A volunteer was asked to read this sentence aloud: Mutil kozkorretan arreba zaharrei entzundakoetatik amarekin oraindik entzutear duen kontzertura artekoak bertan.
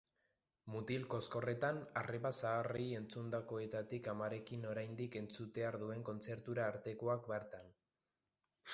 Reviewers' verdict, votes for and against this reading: rejected, 1, 2